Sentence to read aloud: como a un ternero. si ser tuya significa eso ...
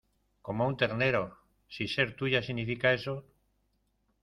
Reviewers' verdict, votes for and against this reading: accepted, 2, 0